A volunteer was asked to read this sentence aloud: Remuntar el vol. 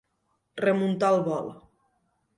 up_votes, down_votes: 2, 0